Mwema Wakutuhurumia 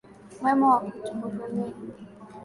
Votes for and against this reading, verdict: 16, 2, accepted